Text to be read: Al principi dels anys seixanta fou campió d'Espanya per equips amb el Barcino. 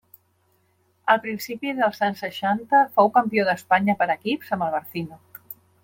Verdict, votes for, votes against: accepted, 2, 0